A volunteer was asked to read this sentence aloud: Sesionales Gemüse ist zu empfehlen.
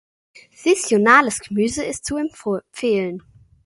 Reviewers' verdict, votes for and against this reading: rejected, 0, 2